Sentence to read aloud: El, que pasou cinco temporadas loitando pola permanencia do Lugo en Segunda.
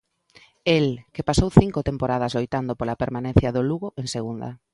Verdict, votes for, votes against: accepted, 2, 0